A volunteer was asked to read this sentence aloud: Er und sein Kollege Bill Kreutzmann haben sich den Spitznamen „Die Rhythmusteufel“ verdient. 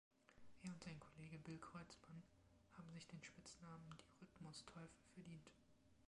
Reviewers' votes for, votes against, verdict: 0, 2, rejected